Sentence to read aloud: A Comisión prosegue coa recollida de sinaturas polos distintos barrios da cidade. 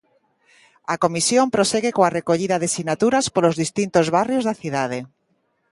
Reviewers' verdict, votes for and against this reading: accepted, 2, 0